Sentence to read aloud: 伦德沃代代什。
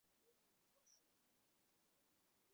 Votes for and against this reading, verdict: 1, 6, rejected